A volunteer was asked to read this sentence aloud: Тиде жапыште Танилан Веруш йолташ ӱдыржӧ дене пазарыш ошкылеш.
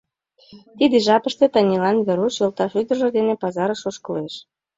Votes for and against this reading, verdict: 2, 0, accepted